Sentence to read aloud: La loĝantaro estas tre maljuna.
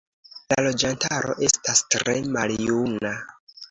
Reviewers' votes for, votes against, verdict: 2, 1, accepted